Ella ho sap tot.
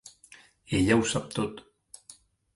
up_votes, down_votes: 3, 0